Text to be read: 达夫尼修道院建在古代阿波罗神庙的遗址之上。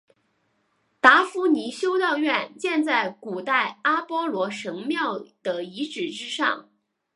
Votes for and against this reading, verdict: 2, 0, accepted